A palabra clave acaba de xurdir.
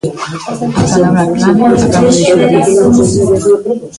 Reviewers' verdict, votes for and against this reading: rejected, 0, 2